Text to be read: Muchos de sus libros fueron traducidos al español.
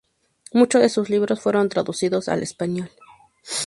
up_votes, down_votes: 4, 0